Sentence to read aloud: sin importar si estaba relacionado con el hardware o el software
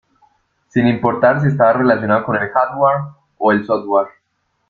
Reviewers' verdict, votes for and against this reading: accepted, 2, 0